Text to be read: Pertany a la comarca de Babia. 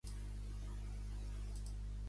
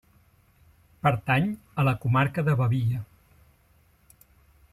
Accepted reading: second